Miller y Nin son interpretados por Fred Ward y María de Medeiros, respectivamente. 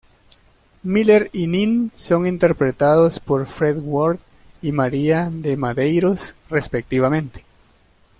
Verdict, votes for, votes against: rejected, 0, 2